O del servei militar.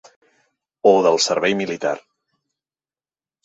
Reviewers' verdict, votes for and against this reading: accepted, 3, 0